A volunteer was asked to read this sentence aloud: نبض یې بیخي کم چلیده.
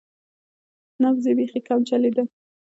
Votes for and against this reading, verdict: 2, 0, accepted